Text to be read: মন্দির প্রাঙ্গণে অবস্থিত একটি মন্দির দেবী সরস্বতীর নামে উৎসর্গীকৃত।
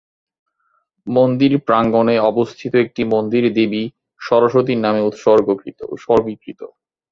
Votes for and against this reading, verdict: 0, 2, rejected